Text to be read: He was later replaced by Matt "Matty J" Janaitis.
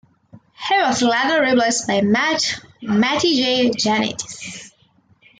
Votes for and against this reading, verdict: 1, 2, rejected